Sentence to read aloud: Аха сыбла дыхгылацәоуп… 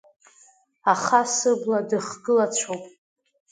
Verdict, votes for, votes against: accepted, 2, 0